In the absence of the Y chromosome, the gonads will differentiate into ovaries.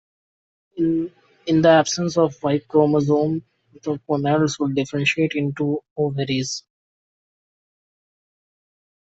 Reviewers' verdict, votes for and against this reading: rejected, 0, 2